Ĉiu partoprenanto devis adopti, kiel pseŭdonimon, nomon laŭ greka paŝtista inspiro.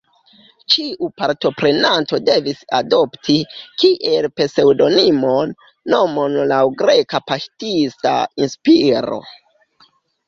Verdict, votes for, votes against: rejected, 0, 2